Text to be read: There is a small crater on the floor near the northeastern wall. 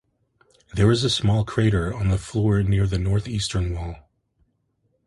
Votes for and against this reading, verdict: 2, 0, accepted